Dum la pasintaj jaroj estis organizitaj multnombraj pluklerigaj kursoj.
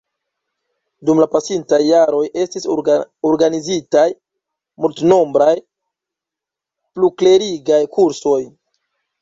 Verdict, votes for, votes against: rejected, 1, 2